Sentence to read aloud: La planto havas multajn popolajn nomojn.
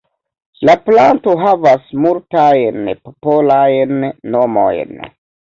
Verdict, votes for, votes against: rejected, 0, 2